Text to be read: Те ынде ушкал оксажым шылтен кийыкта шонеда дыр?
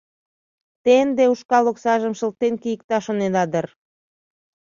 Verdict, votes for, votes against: accepted, 2, 0